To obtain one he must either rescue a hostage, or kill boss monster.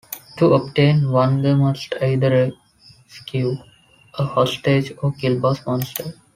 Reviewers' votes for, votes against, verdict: 1, 2, rejected